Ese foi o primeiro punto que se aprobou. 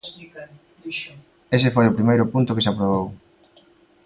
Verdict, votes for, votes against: rejected, 0, 2